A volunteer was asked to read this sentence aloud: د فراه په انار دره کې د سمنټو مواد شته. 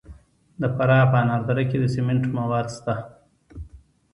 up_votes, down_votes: 2, 0